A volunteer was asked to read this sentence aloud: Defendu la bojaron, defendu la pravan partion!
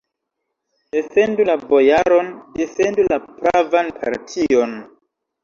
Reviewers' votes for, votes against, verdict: 2, 1, accepted